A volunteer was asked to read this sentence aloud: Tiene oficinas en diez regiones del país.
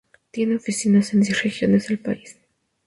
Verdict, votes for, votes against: accepted, 2, 0